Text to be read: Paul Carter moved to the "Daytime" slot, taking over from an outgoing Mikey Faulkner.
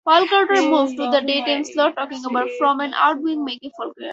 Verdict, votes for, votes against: rejected, 0, 2